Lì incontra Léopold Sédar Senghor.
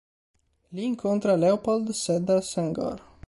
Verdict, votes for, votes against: accepted, 2, 0